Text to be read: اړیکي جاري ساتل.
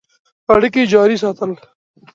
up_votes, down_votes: 2, 0